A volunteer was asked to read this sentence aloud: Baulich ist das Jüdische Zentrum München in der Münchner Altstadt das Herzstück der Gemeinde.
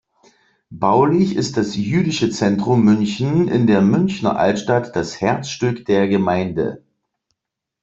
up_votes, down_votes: 2, 0